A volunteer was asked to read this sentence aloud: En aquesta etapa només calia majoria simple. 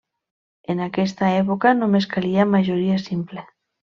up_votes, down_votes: 0, 2